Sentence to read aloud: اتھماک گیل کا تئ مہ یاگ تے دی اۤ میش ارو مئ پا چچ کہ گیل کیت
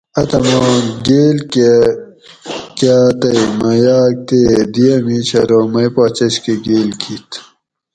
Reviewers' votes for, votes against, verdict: 2, 4, rejected